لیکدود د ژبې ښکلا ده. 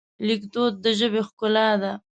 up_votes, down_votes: 2, 0